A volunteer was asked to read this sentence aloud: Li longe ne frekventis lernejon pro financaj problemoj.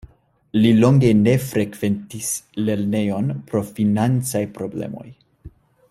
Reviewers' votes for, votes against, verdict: 2, 0, accepted